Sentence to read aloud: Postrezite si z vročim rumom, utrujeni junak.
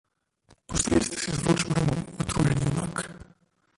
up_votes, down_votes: 0, 2